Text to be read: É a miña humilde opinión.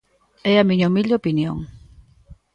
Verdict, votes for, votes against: accepted, 2, 0